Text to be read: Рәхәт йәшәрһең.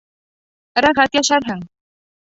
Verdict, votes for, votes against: rejected, 1, 2